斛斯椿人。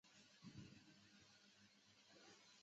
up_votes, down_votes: 0, 2